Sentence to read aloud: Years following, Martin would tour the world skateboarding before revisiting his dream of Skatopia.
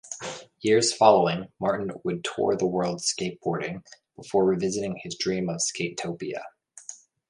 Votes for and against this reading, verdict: 2, 0, accepted